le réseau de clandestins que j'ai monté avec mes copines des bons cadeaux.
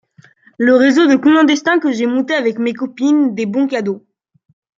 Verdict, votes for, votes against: accepted, 2, 0